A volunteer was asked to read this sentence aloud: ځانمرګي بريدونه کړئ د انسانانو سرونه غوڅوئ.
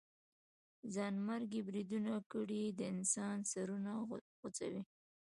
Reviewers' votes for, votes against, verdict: 2, 0, accepted